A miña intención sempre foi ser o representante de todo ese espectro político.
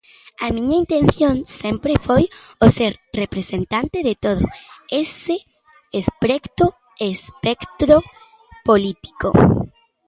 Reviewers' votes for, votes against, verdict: 0, 2, rejected